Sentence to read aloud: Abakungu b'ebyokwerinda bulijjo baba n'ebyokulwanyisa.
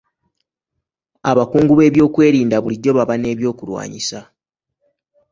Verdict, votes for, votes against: accepted, 2, 0